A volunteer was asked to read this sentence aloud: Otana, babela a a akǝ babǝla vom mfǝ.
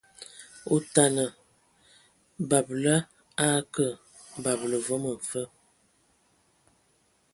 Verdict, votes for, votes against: accepted, 2, 0